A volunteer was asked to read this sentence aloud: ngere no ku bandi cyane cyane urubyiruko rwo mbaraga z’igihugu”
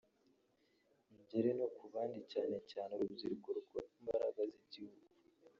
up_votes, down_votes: 1, 2